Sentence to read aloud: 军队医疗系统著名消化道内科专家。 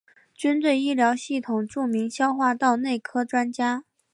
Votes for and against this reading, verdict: 2, 0, accepted